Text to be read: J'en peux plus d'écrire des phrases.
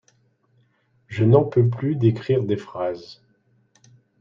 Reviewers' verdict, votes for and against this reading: rejected, 0, 2